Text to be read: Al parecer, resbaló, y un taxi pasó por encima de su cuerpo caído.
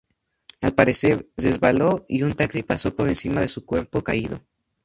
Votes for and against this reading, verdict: 2, 0, accepted